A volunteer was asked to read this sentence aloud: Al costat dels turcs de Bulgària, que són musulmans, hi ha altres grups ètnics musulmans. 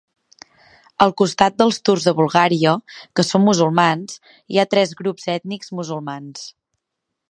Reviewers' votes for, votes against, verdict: 3, 4, rejected